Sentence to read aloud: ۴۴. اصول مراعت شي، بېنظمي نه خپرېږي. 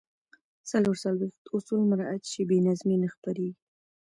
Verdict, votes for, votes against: rejected, 0, 2